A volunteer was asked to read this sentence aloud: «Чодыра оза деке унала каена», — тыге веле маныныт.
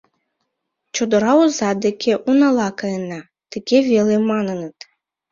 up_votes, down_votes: 2, 0